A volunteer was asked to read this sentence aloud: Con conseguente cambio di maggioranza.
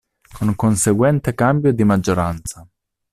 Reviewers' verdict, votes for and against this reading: accepted, 2, 0